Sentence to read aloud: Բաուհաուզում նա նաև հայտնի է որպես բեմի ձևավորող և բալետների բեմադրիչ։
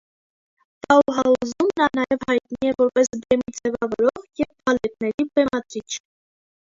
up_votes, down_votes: 0, 2